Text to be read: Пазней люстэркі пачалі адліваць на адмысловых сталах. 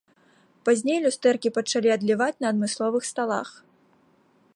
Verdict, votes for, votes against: accepted, 2, 1